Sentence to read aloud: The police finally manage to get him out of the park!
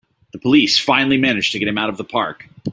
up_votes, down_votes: 3, 0